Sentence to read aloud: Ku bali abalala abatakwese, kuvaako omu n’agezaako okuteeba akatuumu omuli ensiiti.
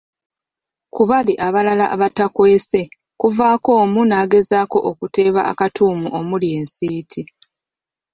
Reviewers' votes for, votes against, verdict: 2, 0, accepted